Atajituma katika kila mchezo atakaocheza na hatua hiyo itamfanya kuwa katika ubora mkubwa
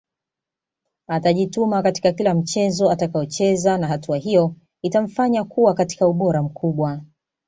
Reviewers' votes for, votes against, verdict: 2, 0, accepted